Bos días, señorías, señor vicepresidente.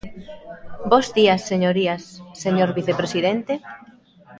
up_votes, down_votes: 0, 2